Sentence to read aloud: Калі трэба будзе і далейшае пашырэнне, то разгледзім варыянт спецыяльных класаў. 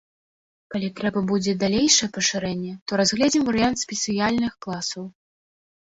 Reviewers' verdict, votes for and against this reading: accepted, 3, 0